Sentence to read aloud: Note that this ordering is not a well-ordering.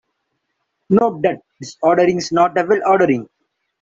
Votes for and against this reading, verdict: 0, 2, rejected